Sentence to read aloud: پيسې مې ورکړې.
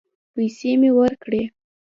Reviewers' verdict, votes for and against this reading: rejected, 1, 2